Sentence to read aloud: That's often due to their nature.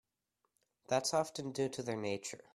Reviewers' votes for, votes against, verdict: 3, 0, accepted